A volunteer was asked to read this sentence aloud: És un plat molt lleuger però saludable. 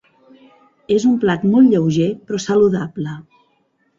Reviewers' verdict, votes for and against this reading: accepted, 3, 0